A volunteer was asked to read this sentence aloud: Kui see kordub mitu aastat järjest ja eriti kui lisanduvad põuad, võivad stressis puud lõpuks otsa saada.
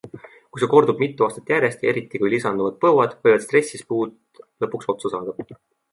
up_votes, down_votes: 2, 0